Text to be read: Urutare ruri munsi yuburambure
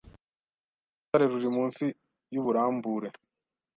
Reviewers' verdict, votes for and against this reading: accepted, 2, 0